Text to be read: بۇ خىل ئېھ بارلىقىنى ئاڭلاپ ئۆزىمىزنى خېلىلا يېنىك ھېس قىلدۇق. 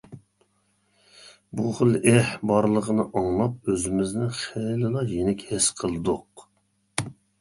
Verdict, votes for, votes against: accepted, 2, 0